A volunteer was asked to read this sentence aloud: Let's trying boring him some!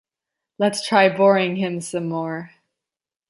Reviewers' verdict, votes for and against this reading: rejected, 0, 2